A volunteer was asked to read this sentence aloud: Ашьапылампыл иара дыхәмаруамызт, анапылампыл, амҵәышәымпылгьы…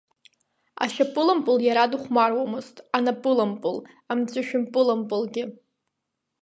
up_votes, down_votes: 0, 2